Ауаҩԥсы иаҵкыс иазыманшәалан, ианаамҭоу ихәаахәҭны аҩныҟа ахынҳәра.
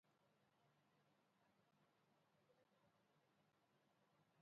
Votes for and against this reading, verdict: 0, 2, rejected